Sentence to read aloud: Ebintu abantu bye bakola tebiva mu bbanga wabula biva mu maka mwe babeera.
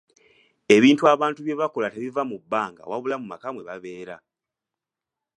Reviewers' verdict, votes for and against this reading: rejected, 1, 2